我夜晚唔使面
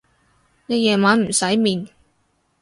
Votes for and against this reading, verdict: 0, 4, rejected